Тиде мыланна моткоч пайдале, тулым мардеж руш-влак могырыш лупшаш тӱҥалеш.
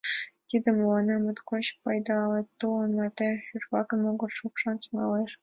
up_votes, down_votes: 3, 2